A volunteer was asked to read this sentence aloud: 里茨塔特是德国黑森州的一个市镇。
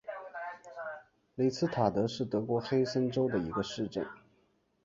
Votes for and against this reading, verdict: 5, 0, accepted